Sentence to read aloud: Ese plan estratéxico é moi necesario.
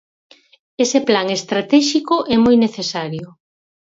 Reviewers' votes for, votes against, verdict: 4, 0, accepted